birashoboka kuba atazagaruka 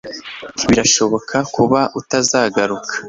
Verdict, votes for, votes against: rejected, 1, 2